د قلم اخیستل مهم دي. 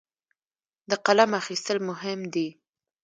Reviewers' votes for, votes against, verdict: 2, 0, accepted